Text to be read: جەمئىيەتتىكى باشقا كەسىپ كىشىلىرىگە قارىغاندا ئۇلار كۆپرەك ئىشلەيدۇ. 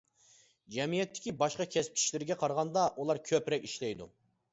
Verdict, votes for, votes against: accepted, 2, 0